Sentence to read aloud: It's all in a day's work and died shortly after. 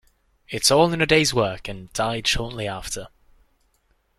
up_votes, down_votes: 2, 0